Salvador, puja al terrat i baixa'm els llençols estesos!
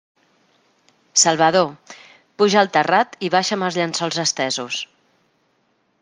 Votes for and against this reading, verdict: 2, 0, accepted